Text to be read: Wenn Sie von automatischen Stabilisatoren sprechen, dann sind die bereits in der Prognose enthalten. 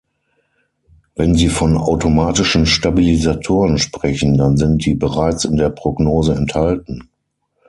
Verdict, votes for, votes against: accepted, 6, 0